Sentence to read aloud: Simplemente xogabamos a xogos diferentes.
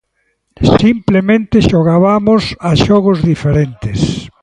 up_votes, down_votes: 1, 2